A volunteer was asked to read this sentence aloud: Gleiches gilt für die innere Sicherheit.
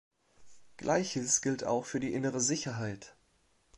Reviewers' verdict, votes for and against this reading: rejected, 1, 2